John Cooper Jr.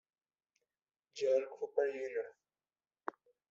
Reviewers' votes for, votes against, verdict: 1, 2, rejected